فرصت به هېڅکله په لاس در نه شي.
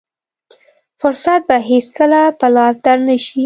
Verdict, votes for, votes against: accepted, 2, 0